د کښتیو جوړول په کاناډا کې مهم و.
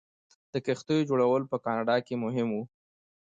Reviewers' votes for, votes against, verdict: 3, 0, accepted